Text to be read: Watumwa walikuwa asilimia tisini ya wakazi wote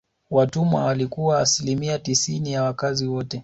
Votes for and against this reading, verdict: 2, 0, accepted